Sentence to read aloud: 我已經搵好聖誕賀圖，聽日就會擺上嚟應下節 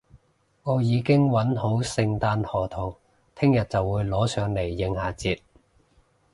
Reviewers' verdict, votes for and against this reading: rejected, 0, 2